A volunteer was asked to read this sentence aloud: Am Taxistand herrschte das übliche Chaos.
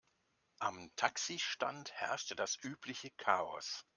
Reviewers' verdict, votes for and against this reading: accepted, 2, 0